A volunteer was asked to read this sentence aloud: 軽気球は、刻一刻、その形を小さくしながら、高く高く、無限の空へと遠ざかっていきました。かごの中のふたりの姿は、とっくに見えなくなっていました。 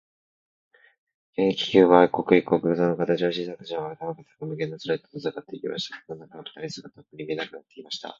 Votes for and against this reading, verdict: 0, 2, rejected